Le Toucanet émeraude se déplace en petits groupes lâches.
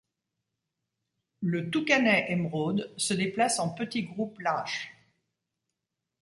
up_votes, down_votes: 2, 0